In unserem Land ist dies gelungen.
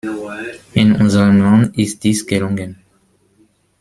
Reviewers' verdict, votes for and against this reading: rejected, 1, 2